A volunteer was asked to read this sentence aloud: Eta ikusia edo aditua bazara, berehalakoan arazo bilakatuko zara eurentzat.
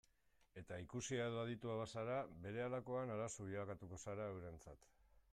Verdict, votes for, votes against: accepted, 2, 0